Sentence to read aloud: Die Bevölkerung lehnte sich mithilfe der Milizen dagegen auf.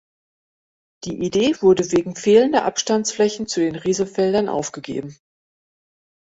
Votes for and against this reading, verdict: 0, 2, rejected